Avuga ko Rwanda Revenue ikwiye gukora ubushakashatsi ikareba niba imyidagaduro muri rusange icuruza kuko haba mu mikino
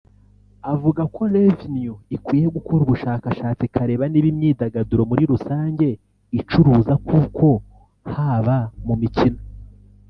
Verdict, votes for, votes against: rejected, 1, 2